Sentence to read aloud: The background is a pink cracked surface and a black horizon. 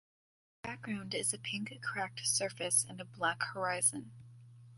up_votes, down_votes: 0, 2